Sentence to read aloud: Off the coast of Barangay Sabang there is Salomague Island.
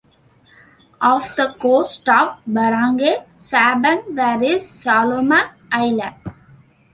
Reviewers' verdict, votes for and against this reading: accepted, 2, 1